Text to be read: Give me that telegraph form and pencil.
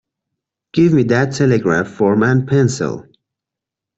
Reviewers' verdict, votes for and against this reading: accepted, 2, 0